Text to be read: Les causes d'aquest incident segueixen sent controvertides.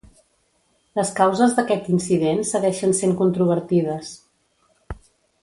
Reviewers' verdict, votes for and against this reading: accepted, 2, 0